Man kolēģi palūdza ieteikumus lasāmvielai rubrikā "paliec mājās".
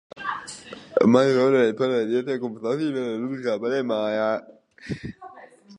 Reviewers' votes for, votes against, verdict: 0, 2, rejected